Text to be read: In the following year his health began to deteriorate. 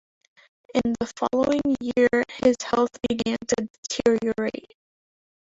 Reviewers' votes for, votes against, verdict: 2, 0, accepted